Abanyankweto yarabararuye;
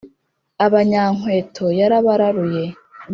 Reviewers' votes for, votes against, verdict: 4, 0, accepted